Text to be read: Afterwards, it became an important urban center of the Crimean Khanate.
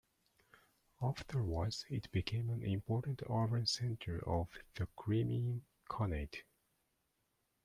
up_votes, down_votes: 0, 2